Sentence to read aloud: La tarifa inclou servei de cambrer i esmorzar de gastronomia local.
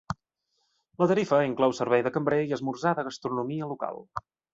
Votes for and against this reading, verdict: 2, 0, accepted